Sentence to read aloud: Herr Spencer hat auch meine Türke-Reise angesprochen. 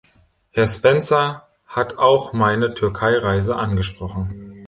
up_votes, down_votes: 0, 2